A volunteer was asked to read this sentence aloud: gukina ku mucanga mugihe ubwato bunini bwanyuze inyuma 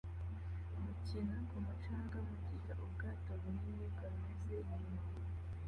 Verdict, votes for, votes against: accepted, 2, 1